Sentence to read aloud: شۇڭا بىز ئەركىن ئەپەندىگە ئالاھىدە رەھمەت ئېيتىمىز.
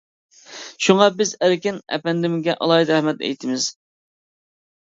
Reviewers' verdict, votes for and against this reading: rejected, 0, 2